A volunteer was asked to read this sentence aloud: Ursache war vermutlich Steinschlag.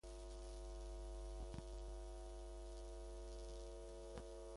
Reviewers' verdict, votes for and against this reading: rejected, 0, 2